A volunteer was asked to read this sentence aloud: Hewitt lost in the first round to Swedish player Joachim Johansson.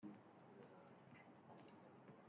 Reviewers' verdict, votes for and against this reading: rejected, 0, 2